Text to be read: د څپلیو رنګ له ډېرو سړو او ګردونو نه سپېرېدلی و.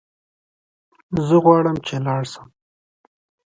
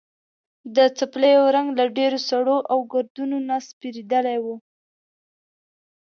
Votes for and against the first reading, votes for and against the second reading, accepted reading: 0, 2, 2, 0, second